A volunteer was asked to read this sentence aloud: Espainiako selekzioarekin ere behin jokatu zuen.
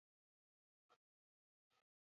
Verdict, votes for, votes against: rejected, 2, 6